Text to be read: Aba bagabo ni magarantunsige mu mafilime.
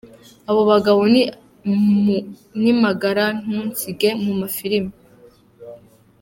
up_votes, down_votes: 2, 0